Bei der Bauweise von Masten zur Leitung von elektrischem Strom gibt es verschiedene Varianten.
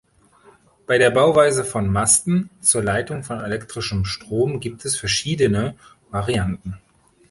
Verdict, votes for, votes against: accepted, 2, 0